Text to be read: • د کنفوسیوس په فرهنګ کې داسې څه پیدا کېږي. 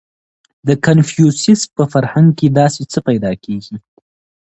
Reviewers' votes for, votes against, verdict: 2, 0, accepted